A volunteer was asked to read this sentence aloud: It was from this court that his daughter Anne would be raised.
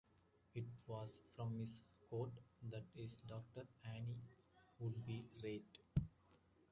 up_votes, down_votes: 1, 2